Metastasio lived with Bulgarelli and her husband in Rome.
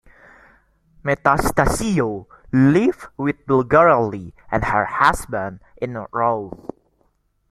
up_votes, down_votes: 2, 0